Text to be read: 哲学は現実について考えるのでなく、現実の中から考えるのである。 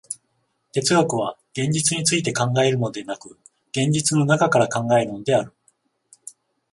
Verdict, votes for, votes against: accepted, 14, 0